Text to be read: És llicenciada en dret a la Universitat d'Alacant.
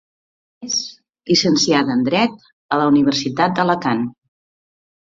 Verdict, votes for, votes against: accepted, 2, 0